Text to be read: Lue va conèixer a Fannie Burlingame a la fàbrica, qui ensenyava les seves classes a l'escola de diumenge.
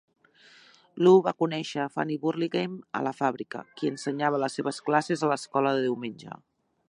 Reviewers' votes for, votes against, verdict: 2, 0, accepted